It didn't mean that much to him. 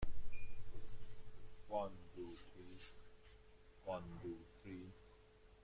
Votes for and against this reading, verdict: 1, 2, rejected